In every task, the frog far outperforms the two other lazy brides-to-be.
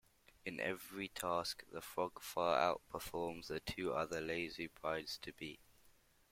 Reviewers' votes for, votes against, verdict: 2, 0, accepted